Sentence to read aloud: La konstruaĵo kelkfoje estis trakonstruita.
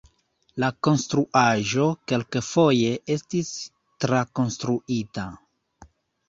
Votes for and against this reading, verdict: 1, 2, rejected